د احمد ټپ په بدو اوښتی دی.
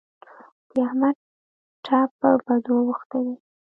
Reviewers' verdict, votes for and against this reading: rejected, 0, 2